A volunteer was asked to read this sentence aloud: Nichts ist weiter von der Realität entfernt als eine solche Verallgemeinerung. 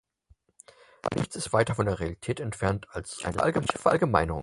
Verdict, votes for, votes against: rejected, 0, 4